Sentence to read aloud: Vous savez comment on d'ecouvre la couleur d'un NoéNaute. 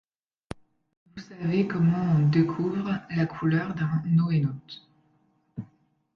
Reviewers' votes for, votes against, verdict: 0, 2, rejected